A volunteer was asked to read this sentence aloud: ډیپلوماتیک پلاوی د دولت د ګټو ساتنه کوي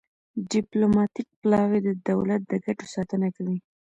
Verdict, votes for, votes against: accepted, 2, 1